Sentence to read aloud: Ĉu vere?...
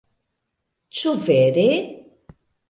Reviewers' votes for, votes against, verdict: 2, 0, accepted